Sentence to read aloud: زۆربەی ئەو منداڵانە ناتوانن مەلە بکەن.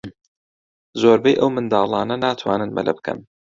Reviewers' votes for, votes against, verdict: 2, 0, accepted